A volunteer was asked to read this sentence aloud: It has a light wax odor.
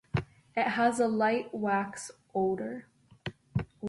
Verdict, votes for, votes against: accepted, 2, 0